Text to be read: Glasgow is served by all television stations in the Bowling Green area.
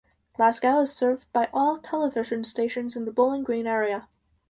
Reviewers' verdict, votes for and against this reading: accepted, 4, 0